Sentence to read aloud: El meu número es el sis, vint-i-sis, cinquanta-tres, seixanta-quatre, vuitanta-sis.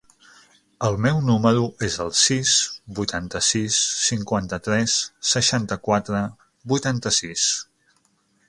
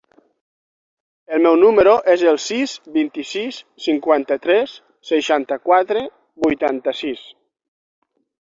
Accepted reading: second